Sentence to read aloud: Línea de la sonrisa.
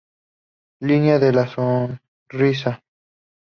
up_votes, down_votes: 2, 0